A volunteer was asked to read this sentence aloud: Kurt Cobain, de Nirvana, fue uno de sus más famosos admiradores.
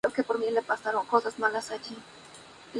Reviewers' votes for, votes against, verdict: 0, 2, rejected